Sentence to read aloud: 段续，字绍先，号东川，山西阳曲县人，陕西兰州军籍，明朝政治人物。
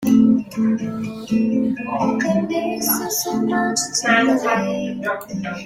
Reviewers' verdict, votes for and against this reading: rejected, 0, 2